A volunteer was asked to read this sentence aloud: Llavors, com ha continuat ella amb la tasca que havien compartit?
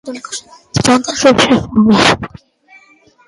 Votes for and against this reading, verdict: 0, 2, rejected